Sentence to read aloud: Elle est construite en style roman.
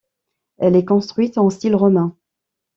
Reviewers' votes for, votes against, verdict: 0, 2, rejected